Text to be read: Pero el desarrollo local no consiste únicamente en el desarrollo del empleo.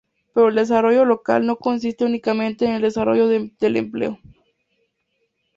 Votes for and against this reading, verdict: 0, 2, rejected